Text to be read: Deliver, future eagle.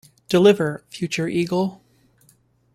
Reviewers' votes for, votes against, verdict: 1, 2, rejected